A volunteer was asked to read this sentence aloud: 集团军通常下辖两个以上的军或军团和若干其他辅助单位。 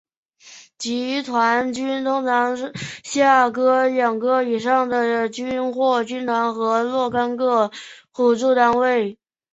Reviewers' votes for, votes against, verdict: 5, 2, accepted